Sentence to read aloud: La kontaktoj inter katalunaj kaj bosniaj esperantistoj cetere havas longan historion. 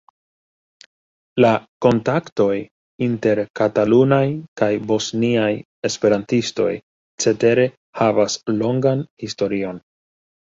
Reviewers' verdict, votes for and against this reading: rejected, 0, 2